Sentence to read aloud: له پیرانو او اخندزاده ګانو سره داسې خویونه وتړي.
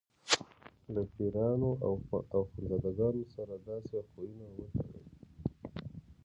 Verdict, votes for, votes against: accepted, 2, 1